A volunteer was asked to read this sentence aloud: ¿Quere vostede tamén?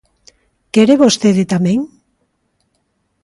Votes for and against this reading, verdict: 2, 0, accepted